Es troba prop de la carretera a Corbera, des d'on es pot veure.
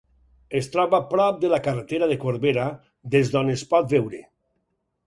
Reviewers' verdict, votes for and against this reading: rejected, 2, 4